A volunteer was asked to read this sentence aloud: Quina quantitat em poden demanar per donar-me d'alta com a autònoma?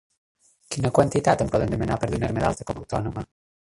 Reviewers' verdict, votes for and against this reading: rejected, 0, 2